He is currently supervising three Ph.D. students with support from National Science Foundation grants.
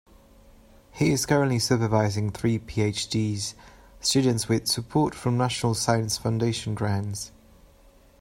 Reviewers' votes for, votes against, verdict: 2, 1, accepted